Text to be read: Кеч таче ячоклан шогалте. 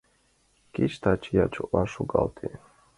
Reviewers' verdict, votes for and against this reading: accepted, 2, 0